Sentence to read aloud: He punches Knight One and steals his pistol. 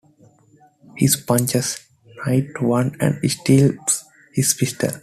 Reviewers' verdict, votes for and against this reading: rejected, 0, 2